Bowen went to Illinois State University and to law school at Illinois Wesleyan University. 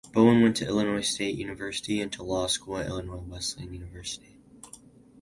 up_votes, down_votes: 0, 2